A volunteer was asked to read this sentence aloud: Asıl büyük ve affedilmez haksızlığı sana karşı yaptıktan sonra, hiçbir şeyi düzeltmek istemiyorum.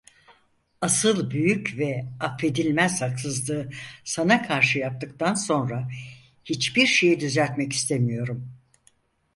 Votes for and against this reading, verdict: 4, 0, accepted